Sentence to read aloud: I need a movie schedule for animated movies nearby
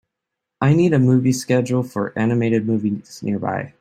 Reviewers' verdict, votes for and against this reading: accepted, 2, 0